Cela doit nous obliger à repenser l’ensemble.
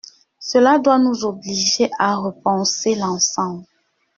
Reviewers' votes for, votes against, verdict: 2, 0, accepted